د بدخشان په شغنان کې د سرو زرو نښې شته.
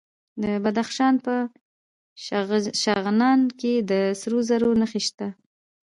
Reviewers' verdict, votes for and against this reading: accepted, 2, 0